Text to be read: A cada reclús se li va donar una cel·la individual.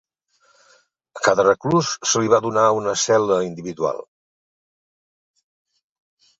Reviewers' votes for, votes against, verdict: 2, 0, accepted